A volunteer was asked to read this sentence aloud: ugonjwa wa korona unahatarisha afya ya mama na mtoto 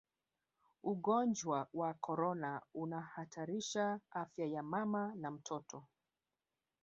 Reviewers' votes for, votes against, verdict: 2, 3, rejected